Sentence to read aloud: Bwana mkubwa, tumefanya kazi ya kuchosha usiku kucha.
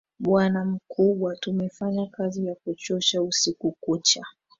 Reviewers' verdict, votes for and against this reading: rejected, 0, 2